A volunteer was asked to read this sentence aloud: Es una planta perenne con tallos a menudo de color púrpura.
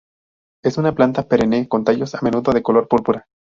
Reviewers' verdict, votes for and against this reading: rejected, 2, 2